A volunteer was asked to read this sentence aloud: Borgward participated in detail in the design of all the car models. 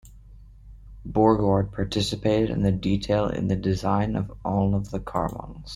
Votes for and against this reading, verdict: 2, 1, accepted